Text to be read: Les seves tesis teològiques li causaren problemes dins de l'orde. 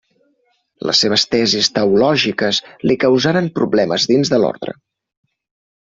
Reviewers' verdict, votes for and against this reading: rejected, 1, 2